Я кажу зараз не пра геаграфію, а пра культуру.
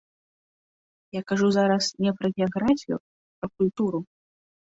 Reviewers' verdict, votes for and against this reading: rejected, 1, 2